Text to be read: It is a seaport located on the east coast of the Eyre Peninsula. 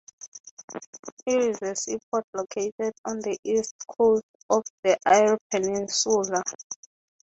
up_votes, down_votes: 3, 0